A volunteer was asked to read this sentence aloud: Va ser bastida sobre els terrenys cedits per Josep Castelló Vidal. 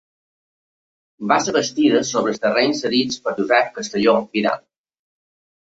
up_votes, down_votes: 2, 0